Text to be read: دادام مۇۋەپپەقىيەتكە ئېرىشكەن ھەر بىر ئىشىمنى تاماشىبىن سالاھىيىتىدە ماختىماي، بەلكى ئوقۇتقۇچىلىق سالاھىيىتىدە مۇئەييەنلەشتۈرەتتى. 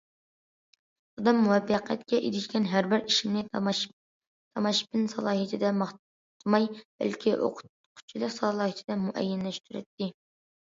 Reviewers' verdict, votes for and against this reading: accepted, 2, 1